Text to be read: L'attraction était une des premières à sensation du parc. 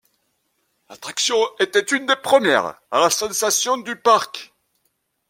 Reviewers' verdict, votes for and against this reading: rejected, 1, 2